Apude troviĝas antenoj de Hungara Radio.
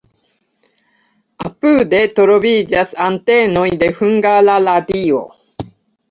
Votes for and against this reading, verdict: 2, 1, accepted